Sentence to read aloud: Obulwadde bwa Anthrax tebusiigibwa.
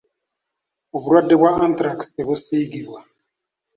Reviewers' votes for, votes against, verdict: 2, 0, accepted